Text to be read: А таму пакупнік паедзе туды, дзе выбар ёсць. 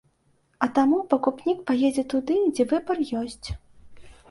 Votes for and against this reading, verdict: 2, 0, accepted